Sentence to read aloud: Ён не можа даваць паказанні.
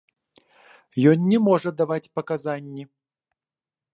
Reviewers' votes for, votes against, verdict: 2, 0, accepted